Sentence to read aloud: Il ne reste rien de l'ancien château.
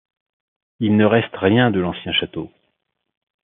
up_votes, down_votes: 2, 0